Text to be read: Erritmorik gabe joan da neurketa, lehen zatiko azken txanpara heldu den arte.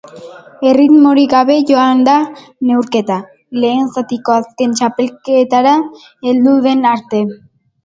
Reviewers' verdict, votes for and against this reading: rejected, 0, 2